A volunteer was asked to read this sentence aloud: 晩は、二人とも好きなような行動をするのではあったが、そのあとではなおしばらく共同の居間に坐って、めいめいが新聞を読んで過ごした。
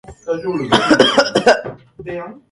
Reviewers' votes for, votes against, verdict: 0, 2, rejected